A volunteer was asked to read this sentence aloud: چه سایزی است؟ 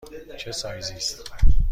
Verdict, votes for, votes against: rejected, 1, 2